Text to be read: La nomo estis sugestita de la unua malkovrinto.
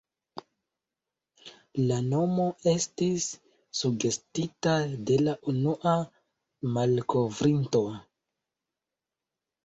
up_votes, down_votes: 1, 2